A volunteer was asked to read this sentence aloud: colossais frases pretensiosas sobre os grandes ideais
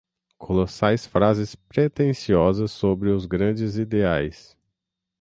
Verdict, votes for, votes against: accepted, 6, 0